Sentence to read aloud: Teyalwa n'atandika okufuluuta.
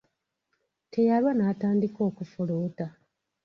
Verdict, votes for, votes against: accepted, 2, 1